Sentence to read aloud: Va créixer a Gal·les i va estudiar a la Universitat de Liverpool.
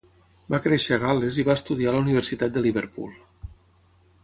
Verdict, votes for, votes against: accepted, 6, 0